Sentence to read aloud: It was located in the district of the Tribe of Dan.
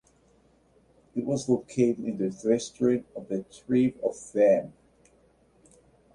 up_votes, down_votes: 0, 2